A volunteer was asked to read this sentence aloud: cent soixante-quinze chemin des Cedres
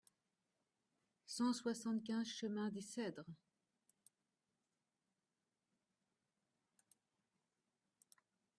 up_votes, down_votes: 2, 0